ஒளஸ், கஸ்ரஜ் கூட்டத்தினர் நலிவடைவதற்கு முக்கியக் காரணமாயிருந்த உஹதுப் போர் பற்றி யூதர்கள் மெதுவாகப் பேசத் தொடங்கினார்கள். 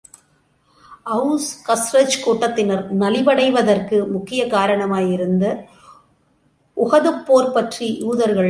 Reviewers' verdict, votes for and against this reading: rejected, 0, 2